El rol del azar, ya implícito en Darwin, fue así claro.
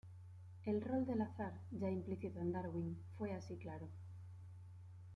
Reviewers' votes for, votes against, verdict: 2, 0, accepted